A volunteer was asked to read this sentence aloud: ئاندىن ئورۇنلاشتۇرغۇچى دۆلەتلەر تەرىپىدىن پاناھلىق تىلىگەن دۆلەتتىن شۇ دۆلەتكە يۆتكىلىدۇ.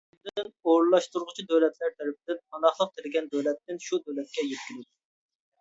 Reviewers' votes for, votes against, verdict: 0, 2, rejected